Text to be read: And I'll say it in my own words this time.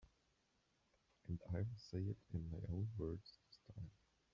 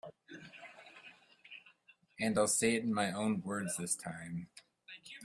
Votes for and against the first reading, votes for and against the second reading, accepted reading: 1, 2, 2, 1, second